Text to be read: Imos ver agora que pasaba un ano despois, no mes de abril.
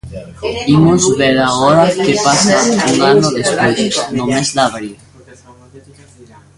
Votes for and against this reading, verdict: 0, 2, rejected